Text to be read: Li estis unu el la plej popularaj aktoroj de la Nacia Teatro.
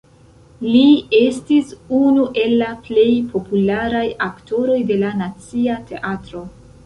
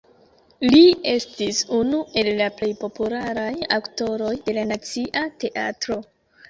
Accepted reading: second